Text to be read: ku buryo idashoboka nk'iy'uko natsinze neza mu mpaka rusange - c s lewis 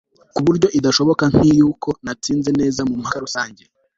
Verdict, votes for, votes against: rejected, 2, 3